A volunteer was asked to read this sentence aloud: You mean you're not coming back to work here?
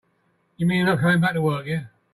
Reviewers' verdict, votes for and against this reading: rejected, 2, 3